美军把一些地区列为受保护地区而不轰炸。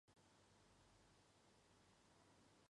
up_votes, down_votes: 0, 2